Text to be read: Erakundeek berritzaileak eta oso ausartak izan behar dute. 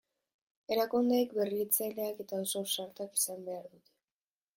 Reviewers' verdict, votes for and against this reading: rejected, 2, 2